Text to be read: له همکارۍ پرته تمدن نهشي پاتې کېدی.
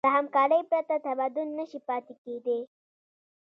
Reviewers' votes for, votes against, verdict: 1, 2, rejected